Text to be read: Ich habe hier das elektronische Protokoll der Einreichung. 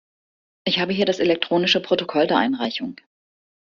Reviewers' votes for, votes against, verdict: 2, 0, accepted